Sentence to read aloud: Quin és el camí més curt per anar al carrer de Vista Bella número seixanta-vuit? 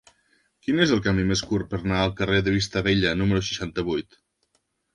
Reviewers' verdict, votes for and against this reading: rejected, 1, 2